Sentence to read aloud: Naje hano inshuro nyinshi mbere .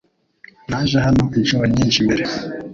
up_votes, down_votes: 2, 0